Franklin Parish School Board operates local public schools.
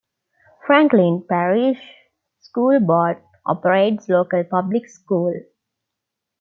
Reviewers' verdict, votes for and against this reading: rejected, 0, 2